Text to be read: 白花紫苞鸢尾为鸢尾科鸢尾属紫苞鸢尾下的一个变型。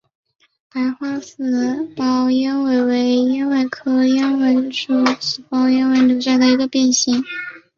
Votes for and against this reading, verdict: 2, 0, accepted